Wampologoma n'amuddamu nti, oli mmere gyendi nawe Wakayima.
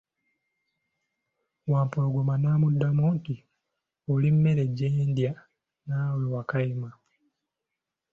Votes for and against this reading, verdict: 2, 1, accepted